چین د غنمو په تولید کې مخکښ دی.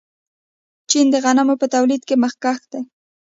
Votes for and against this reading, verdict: 2, 1, accepted